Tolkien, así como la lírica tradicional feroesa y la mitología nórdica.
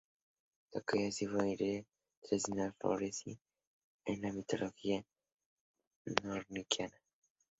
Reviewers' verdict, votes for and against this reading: rejected, 0, 6